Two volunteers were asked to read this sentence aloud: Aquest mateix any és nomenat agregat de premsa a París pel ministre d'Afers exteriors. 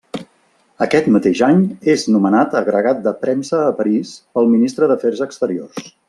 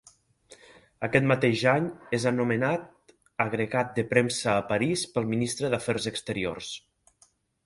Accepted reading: first